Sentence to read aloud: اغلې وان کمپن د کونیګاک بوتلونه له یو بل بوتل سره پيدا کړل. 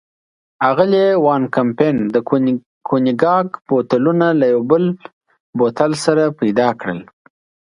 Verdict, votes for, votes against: accepted, 2, 0